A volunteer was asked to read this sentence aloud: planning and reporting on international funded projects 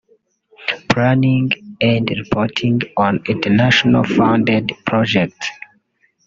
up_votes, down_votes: 1, 2